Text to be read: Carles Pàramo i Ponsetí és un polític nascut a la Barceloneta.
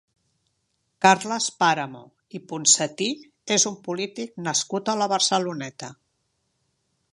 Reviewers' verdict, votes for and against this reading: accepted, 2, 0